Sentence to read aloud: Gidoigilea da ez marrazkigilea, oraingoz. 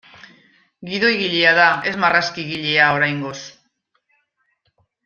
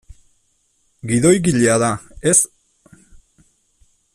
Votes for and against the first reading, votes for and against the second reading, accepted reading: 2, 0, 0, 3, first